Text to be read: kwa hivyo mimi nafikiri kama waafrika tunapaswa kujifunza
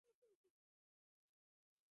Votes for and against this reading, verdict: 0, 4, rejected